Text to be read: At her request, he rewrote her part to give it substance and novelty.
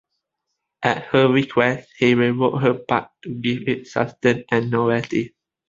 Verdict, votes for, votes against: accepted, 2, 0